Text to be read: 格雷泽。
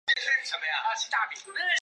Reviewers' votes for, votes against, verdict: 0, 3, rejected